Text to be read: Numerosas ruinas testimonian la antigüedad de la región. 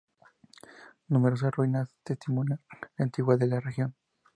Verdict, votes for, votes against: accepted, 4, 2